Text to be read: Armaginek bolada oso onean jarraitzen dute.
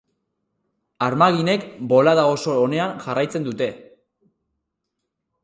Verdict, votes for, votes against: accepted, 2, 0